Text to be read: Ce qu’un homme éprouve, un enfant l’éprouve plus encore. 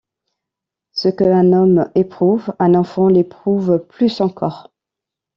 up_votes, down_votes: 2, 1